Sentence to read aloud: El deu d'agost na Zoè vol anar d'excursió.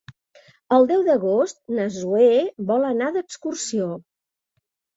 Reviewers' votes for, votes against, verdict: 2, 0, accepted